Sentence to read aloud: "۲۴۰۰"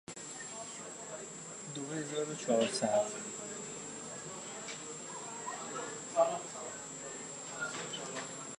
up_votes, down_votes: 0, 2